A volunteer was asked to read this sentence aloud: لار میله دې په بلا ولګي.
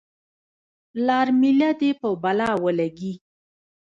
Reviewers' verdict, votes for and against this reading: rejected, 1, 2